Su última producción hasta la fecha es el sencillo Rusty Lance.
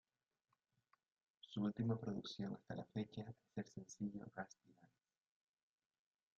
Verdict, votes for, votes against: rejected, 0, 2